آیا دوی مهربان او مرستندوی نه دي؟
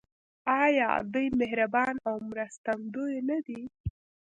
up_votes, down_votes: 2, 0